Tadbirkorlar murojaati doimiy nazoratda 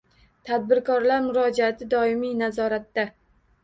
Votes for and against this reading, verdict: 1, 2, rejected